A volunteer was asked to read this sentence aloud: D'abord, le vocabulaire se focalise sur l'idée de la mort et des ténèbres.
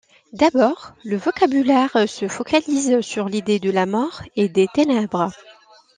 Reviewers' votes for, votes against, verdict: 2, 0, accepted